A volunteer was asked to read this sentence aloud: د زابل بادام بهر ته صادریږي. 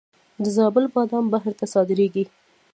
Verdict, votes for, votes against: rejected, 1, 2